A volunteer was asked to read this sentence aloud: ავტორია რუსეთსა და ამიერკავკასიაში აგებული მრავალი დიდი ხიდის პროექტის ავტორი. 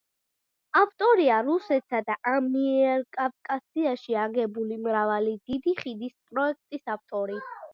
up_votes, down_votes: 2, 1